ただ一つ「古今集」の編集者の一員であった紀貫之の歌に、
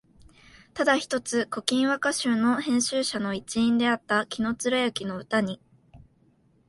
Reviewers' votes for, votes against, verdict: 1, 2, rejected